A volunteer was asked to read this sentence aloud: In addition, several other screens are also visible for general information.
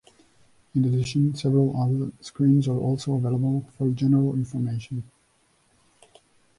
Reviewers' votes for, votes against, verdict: 1, 2, rejected